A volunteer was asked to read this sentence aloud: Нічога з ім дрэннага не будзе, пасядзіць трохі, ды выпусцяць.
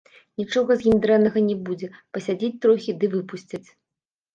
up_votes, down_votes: 0, 2